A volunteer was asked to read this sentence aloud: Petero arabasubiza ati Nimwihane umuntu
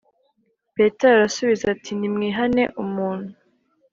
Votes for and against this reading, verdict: 3, 0, accepted